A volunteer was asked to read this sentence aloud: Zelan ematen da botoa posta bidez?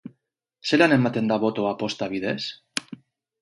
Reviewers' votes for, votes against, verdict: 0, 2, rejected